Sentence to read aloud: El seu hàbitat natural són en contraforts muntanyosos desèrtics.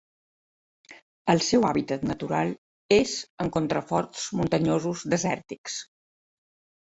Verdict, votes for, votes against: rejected, 0, 2